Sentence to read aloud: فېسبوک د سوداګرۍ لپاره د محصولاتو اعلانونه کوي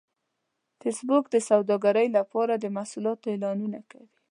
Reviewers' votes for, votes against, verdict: 2, 0, accepted